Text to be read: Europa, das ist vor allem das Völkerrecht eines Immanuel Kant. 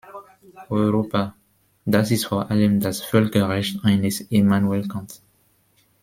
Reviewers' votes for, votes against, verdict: 2, 1, accepted